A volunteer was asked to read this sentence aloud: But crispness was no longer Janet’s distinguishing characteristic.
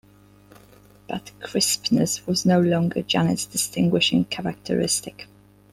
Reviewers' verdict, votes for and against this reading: accepted, 2, 0